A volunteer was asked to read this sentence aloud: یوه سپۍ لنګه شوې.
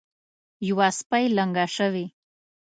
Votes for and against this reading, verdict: 2, 0, accepted